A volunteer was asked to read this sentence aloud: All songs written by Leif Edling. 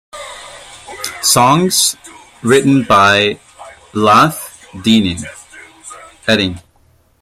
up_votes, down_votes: 0, 2